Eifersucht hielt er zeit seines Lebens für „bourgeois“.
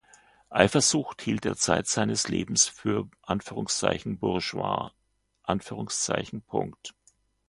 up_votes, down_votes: 2, 0